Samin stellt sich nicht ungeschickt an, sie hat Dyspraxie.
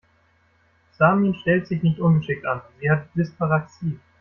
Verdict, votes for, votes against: rejected, 1, 2